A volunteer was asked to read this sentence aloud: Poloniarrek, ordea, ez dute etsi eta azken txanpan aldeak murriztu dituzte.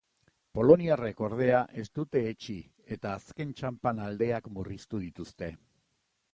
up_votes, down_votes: 3, 0